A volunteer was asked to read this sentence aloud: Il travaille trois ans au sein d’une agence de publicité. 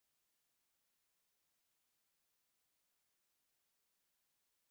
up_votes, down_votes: 0, 4